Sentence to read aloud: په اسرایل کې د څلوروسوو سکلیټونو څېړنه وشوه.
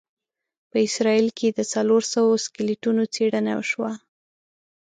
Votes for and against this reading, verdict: 2, 0, accepted